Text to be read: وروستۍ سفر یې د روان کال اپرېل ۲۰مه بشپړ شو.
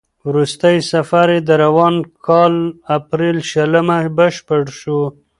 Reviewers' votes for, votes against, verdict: 0, 2, rejected